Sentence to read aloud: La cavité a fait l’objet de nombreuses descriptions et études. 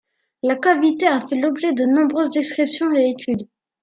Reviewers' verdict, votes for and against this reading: accepted, 2, 0